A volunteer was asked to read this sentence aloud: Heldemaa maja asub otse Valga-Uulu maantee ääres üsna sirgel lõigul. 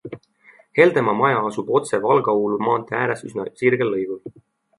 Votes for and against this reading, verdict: 3, 0, accepted